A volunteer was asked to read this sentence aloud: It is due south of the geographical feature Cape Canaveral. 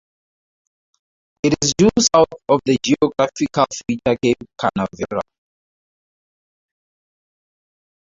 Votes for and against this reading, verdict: 0, 2, rejected